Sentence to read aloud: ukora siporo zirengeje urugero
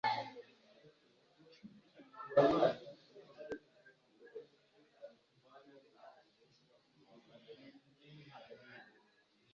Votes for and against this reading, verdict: 0, 2, rejected